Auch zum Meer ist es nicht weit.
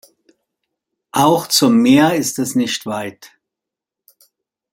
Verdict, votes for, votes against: accepted, 2, 0